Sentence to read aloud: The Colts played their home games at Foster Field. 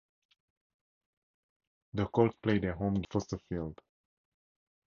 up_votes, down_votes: 0, 4